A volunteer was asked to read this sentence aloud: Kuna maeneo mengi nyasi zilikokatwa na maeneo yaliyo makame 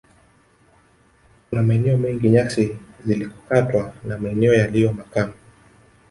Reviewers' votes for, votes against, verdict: 1, 2, rejected